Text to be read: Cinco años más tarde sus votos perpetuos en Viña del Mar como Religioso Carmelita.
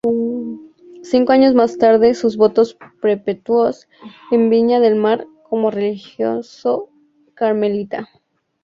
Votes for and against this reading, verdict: 2, 0, accepted